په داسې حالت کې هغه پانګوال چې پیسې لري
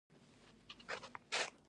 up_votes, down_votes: 0, 2